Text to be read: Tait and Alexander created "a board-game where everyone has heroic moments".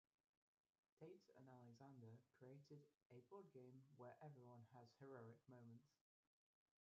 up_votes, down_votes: 0, 2